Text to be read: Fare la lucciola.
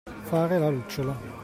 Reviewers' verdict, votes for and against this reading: accepted, 2, 0